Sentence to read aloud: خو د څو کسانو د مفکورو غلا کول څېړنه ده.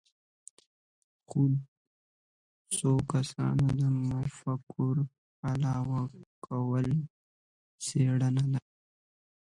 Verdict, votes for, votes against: rejected, 0, 2